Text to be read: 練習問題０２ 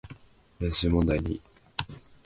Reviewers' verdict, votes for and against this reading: rejected, 0, 2